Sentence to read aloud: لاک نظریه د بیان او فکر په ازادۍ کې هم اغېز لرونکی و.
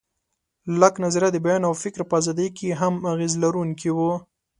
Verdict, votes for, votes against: accepted, 2, 0